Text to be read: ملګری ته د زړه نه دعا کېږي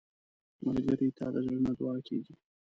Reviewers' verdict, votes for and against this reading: rejected, 1, 2